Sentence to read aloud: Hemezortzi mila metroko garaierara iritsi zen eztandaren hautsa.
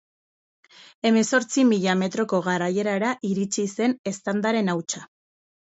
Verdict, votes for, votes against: accepted, 4, 0